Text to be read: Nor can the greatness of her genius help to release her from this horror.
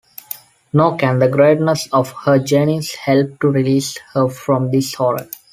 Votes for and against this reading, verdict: 2, 0, accepted